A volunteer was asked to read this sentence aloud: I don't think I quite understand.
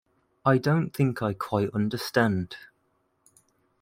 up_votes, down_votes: 2, 0